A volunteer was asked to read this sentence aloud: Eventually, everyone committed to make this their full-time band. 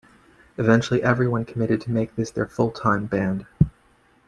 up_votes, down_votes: 2, 0